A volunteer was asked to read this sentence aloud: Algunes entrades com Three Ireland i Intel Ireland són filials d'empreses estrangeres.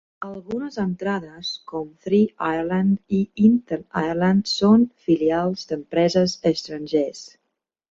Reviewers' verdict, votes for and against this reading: rejected, 0, 2